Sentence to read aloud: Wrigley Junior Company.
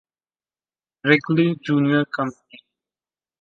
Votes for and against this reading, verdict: 2, 0, accepted